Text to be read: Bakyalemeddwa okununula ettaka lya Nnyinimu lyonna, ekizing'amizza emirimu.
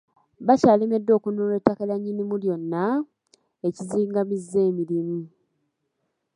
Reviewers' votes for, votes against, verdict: 2, 1, accepted